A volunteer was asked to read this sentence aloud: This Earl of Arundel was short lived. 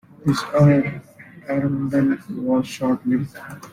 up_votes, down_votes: 0, 3